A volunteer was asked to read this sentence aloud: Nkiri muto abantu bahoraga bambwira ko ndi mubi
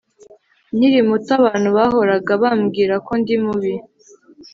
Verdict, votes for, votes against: accepted, 2, 0